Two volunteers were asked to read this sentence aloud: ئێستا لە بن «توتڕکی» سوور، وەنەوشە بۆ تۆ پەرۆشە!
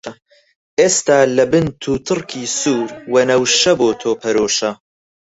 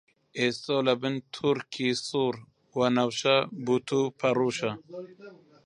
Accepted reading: first